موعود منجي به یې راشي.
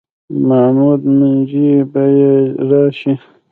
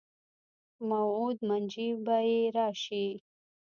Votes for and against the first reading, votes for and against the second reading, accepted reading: 2, 1, 1, 3, first